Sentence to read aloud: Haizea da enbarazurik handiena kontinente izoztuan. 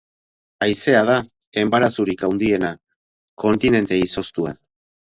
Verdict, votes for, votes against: rejected, 2, 2